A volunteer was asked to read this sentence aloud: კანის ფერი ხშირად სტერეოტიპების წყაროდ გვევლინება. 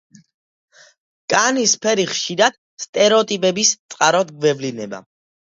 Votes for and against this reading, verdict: 2, 0, accepted